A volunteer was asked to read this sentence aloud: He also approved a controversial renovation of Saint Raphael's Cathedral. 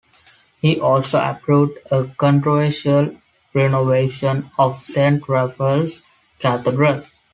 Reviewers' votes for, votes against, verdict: 2, 0, accepted